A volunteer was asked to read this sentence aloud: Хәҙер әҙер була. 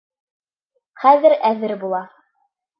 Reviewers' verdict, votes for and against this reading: accepted, 3, 0